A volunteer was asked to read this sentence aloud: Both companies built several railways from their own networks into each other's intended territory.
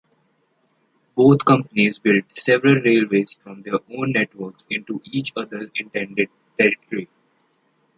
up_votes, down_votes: 2, 0